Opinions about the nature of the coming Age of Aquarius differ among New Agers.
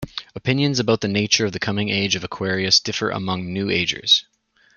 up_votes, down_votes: 2, 0